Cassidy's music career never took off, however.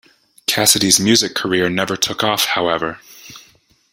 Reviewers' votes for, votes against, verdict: 2, 0, accepted